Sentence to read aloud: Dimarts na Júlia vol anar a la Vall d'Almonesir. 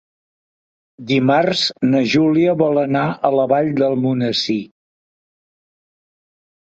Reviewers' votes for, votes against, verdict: 2, 1, accepted